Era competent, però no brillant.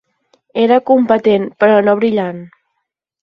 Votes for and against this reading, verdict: 15, 0, accepted